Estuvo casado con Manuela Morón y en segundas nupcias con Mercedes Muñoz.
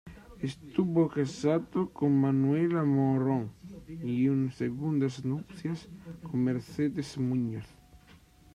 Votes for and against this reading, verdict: 2, 0, accepted